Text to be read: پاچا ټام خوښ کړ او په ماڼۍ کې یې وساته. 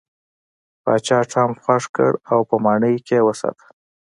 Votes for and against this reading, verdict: 2, 0, accepted